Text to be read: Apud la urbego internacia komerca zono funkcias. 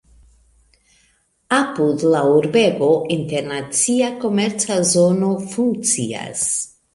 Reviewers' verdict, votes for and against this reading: accepted, 2, 0